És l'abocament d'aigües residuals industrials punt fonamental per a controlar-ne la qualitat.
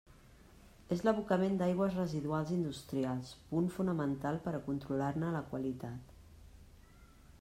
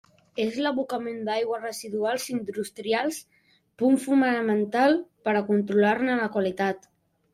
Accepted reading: first